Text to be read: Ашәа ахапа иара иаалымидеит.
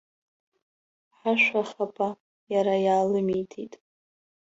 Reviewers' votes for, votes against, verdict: 1, 2, rejected